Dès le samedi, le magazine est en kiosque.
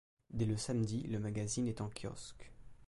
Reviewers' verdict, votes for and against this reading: accepted, 2, 0